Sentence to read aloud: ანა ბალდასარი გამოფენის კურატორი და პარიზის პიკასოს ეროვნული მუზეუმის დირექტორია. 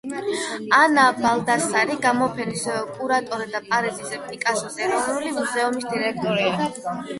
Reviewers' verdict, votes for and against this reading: rejected, 0, 8